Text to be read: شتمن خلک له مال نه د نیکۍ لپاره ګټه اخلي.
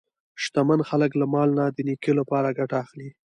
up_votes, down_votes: 1, 2